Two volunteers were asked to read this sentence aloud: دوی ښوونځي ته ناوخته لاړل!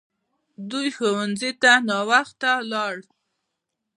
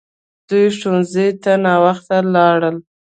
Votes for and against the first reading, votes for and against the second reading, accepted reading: 1, 2, 2, 0, second